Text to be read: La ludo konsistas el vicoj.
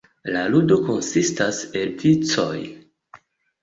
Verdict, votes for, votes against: rejected, 0, 2